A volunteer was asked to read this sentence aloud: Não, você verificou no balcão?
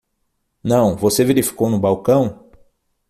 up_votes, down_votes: 6, 0